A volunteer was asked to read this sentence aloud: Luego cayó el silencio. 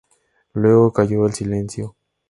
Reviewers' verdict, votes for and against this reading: accepted, 2, 0